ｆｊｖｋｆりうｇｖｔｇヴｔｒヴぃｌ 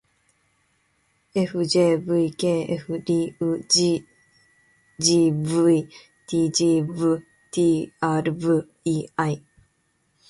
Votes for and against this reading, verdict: 0, 2, rejected